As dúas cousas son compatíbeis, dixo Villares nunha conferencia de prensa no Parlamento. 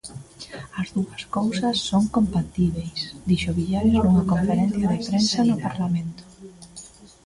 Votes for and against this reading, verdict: 0, 2, rejected